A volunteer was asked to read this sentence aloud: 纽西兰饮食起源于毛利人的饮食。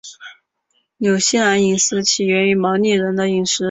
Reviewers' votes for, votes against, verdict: 2, 1, accepted